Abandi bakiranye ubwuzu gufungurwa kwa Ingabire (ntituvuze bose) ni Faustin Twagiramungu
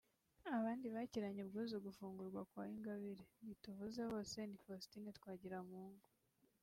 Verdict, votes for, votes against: accepted, 2, 0